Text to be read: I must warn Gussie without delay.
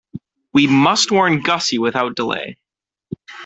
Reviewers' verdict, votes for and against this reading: rejected, 0, 2